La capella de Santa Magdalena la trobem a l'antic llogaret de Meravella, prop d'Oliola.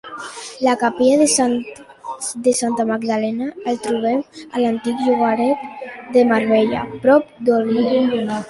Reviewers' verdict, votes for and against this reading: rejected, 0, 2